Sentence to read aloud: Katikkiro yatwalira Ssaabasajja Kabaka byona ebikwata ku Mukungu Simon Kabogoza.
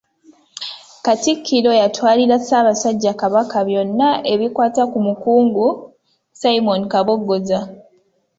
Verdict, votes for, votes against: accepted, 2, 0